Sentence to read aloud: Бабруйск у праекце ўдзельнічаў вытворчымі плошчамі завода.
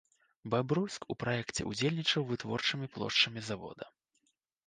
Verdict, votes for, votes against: accepted, 2, 0